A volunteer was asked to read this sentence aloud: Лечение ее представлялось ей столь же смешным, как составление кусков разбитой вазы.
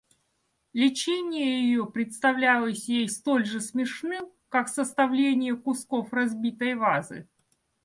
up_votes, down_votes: 2, 0